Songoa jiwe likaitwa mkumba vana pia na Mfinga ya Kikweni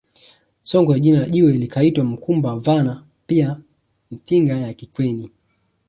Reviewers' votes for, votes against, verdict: 1, 2, rejected